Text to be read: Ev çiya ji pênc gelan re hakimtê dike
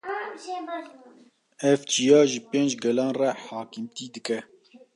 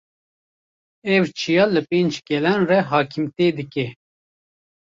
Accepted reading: first